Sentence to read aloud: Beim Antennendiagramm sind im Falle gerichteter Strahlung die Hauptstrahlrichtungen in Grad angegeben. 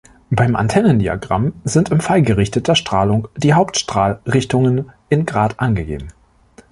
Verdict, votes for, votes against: rejected, 0, 3